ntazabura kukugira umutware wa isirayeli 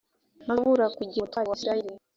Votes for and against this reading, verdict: 0, 2, rejected